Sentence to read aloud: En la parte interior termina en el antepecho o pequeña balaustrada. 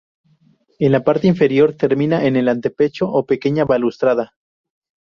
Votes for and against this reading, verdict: 0, 2, rejected